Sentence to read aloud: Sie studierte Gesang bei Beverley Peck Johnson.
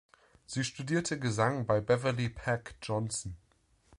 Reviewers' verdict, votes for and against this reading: accepted, 3, 0